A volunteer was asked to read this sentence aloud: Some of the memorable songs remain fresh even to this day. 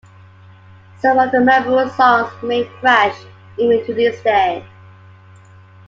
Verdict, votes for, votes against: accepted, 2, 1